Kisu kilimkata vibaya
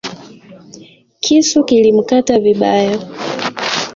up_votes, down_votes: 0, 2